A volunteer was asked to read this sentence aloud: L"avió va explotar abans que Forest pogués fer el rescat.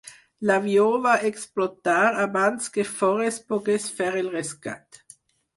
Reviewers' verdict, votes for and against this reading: accepted, 4, 0